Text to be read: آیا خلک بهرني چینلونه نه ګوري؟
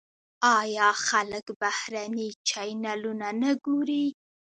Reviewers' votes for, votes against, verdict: 0, 2, rejected